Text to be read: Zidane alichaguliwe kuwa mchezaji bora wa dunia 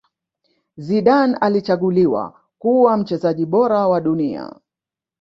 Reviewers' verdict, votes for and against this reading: rejected, 1, 2